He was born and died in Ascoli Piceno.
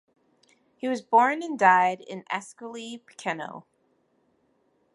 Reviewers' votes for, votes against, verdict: 0, 2, rejected